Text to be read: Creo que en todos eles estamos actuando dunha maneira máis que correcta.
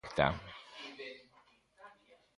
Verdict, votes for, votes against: rejected, 0, 2